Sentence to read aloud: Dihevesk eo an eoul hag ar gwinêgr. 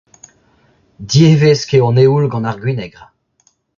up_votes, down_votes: 0, 2